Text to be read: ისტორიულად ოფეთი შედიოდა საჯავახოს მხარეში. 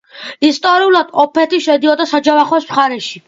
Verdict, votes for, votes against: accepted, 2, 0